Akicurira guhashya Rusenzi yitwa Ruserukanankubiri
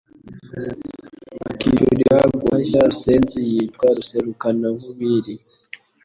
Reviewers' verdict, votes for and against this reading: rejected, 1, 2